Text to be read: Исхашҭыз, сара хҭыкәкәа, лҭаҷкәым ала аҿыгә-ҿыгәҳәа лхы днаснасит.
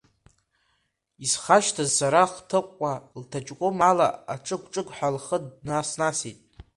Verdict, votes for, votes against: accepted, 2, 0